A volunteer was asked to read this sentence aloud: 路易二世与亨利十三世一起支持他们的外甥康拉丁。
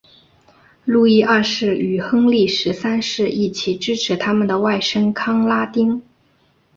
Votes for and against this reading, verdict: 2, 0, accepted